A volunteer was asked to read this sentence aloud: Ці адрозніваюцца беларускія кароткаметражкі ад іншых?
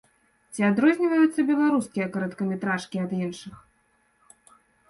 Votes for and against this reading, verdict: 2, 0, accepted